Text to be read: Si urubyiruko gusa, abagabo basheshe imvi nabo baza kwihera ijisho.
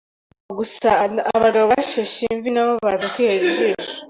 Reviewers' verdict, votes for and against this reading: rejected, 0, 2